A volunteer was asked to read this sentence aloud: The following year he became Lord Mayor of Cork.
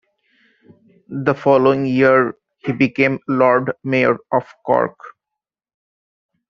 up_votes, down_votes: 2, 0